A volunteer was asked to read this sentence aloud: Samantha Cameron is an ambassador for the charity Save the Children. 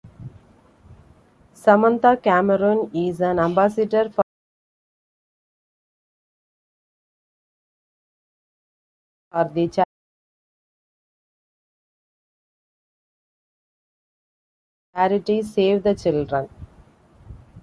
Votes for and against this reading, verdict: 0, 2, rejected